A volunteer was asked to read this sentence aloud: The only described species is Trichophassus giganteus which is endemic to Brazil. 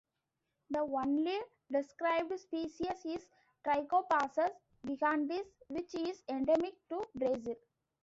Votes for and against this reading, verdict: 1, 2, rejected